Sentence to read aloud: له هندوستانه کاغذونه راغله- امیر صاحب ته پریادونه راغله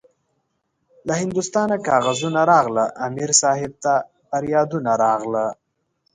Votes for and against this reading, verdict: 2, 0, accepted